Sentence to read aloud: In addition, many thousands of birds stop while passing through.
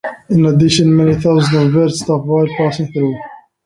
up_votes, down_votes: 1, 2